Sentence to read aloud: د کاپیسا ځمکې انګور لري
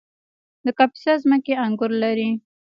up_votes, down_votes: 1, 2